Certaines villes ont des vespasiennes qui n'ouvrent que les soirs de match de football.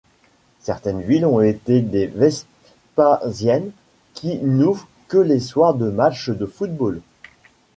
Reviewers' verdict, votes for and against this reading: rejected, 1, 2